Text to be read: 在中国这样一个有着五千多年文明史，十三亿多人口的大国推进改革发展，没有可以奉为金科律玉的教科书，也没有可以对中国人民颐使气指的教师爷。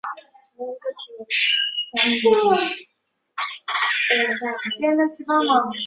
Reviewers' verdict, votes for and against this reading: rejected, 0, 4